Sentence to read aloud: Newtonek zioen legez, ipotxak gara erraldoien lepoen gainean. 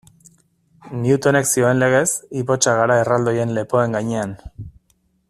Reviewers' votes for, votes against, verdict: 2, 0, accepted